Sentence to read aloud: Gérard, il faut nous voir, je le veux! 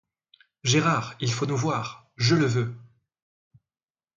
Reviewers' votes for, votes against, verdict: 2, 0, accepted